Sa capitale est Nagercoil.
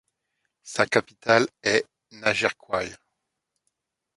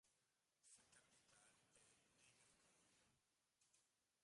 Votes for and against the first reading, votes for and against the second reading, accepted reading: 2, 0, 0, 2, first